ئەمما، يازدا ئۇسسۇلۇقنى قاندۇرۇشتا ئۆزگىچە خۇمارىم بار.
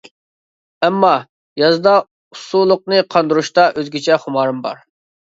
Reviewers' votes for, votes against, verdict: 2, 0, accepted